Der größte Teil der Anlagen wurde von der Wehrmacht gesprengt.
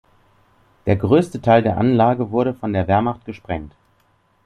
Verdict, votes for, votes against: rejected, 2, 3